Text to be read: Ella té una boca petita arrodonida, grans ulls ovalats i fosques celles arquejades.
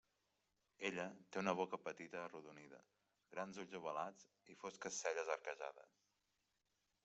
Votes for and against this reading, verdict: 0, 2, rejected